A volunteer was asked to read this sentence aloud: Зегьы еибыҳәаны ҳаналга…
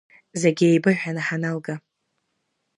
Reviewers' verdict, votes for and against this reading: accepted, 2, 0